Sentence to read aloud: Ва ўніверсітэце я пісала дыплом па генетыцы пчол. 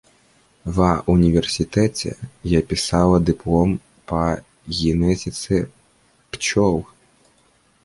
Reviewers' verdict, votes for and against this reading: rejected, 1, 2